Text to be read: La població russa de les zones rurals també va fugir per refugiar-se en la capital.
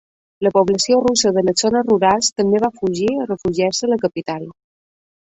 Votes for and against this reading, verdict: 1, 2, rejected